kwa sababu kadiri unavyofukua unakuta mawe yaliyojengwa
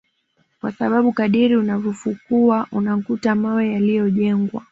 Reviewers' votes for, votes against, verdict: 2, 0, accepted